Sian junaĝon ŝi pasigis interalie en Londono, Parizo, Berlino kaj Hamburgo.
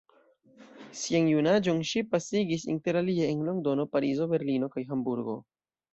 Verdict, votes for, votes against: rejected, 1, 2